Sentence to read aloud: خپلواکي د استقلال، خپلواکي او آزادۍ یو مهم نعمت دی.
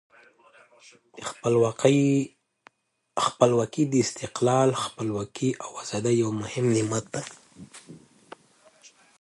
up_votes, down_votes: 0, 2